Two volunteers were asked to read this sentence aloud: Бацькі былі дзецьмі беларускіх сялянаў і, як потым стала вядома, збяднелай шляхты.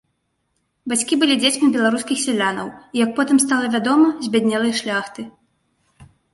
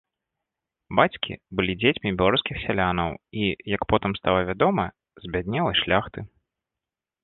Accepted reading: first